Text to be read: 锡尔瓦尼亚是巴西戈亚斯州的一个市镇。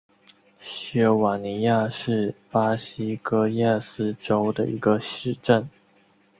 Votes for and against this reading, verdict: 4, 0, accepted